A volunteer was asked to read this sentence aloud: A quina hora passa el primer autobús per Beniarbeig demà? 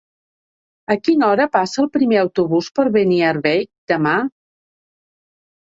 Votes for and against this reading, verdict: 1, 2, rejected